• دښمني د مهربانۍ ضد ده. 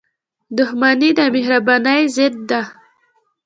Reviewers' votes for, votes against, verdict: 2, 0, accepted